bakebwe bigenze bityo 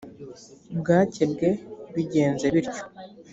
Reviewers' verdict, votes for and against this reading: rejected, 1, 2